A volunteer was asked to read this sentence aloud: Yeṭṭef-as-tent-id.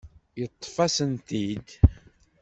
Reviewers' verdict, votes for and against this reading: rejected, 1, 2